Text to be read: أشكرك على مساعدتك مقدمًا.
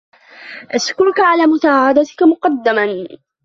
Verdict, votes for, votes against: rejected, 1, 2